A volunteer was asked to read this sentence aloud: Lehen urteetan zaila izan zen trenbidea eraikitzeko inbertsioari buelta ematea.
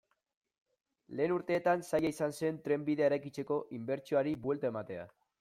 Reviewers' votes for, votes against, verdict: 2, 0, accepted